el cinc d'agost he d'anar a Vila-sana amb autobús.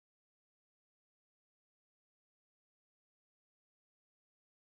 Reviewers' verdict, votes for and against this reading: rejected, 0, 4